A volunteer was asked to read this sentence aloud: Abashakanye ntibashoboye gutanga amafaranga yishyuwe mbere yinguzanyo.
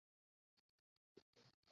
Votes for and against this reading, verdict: 0, 2, rejected